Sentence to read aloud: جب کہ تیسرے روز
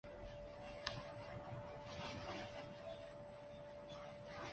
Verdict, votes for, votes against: rejected, 1, 2